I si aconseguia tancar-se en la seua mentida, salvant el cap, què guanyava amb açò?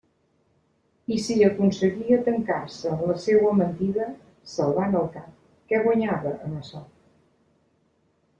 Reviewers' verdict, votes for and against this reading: accepted, 2, 0